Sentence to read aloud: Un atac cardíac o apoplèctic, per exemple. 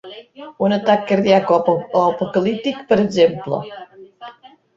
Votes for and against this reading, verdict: 0, 2, rejected